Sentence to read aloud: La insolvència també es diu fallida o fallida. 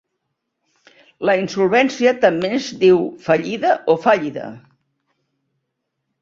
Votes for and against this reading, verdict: 0, 2, rejected